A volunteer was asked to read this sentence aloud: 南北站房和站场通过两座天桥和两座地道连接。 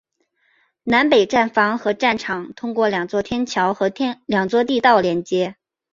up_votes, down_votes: 3, 0